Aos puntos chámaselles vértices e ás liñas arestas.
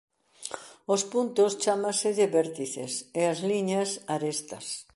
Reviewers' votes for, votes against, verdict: 2, 0, accepted